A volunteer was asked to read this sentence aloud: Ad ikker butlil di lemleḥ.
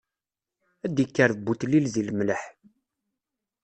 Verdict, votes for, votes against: accepted, 2, 0